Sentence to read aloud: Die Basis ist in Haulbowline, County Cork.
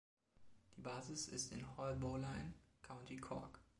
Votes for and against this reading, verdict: 2, 1, accepted